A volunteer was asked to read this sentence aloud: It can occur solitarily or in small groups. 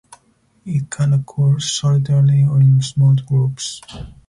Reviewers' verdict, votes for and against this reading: rejected, 0, 4